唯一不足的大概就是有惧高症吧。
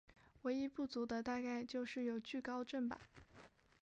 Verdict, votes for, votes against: accepted, 4, 2